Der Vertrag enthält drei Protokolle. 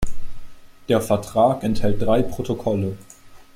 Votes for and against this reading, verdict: 2, 0, accepted